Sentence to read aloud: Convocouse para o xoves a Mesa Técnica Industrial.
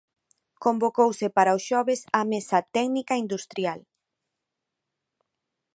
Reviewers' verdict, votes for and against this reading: accepted, 2, 0